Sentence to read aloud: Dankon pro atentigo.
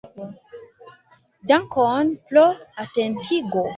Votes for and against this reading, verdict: 2, 1, accepted